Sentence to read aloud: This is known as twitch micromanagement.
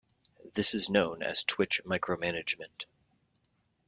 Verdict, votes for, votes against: accepted, 2, 0